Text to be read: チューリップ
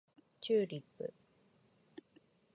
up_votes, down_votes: 1, 2